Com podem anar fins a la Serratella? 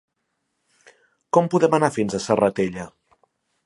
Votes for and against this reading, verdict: 0, 3, rejected